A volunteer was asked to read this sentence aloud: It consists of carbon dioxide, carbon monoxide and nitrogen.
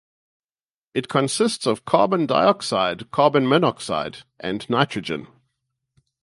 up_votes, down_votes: 4, 0